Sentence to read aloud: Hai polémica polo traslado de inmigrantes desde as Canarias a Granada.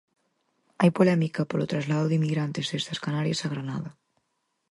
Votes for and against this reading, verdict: 4, 0, accepted